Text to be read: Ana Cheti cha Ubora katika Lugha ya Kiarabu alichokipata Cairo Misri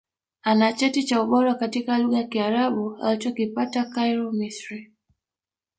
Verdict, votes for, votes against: rejected, 1, 2